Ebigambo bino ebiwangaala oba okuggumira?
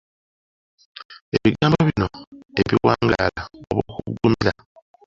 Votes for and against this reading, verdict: 1, 2, rejected